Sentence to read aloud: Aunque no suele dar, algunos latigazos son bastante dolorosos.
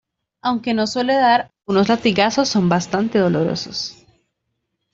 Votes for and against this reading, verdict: 1, 2, rejected